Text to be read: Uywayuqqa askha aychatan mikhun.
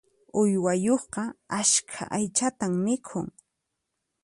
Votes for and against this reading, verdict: 4, 0, accepted